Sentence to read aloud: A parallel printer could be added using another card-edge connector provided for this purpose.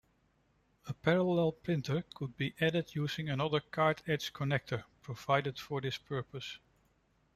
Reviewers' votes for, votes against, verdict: 1, 2, rejected